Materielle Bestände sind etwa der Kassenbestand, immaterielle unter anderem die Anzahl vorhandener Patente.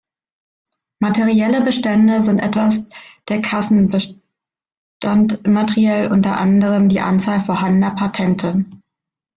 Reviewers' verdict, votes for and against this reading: rejected, 0, 2